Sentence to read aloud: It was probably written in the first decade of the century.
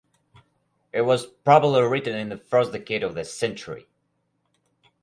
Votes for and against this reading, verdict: 4, 0, accepted